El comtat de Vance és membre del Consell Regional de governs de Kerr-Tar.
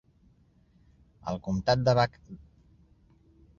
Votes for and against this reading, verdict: 0, 2, rejected